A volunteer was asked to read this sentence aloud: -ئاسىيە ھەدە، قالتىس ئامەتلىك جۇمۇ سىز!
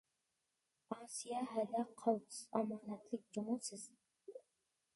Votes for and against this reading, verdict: 0, 2, rejected